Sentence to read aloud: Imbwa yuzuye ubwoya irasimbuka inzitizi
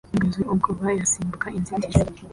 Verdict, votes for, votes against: rejected, 0, 2